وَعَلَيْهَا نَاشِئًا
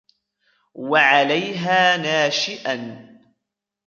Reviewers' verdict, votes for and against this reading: accepted, 2, 1